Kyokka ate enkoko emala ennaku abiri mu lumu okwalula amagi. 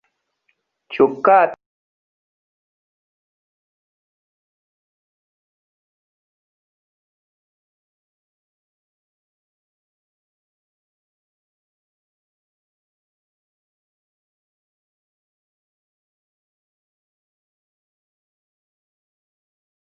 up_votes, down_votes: 0, 2